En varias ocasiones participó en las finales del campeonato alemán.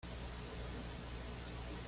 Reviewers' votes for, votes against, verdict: 1, 2, rejected